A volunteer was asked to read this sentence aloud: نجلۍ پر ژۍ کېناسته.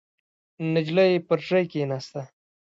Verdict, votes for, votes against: accepted, 2, 1